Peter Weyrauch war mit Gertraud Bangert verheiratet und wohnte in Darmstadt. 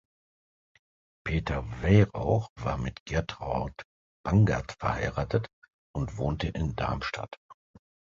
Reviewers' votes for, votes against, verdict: 2, 0, accepted